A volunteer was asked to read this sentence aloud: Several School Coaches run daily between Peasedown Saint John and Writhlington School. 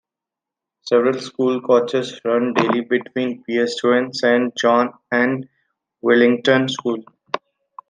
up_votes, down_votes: 0, 2